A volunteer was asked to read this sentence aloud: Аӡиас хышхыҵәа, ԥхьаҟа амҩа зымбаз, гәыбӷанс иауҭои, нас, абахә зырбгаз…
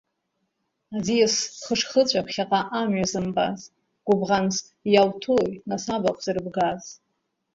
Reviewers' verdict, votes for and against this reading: rejected, 1, 2